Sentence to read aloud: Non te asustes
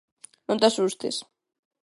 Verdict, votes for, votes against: accepted, 2, 0